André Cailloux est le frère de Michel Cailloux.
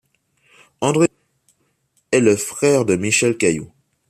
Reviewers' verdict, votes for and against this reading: rejected, 1, 3